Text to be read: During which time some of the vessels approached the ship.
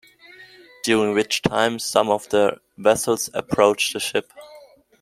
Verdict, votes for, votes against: accepted, 2, 0